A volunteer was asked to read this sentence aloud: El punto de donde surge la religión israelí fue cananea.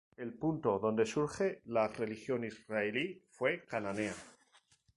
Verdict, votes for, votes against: accepted, 6, 0